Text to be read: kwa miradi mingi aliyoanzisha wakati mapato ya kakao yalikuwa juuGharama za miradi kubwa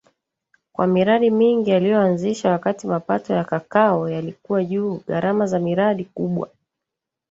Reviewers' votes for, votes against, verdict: 1, 2, rejected